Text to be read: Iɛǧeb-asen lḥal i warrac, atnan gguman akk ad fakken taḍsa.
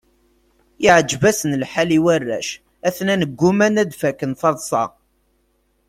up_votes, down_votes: 1, 2